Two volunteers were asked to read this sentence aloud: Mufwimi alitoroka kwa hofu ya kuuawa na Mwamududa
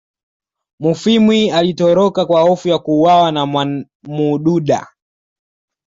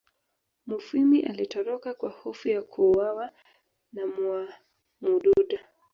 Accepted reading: first